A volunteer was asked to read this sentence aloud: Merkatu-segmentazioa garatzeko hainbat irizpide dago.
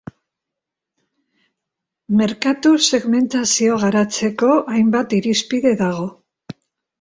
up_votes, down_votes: 2, 0